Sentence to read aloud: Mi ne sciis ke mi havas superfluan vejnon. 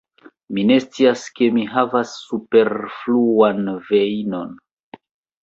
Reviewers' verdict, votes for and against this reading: rejected, 1, 3